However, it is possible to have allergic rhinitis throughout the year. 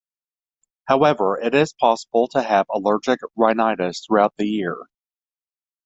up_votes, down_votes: 2, 0